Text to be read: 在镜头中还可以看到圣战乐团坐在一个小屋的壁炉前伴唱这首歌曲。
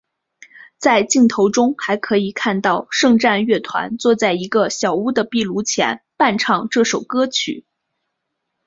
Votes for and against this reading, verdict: 5, 0, accepted